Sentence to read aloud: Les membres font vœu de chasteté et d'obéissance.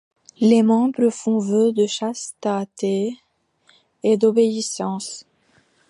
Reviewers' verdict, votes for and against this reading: rejected, 1, 2